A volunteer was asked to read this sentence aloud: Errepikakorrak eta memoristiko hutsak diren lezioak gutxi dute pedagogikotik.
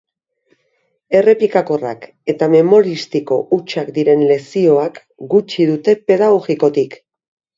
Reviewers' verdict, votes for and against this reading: accepted, 3, 0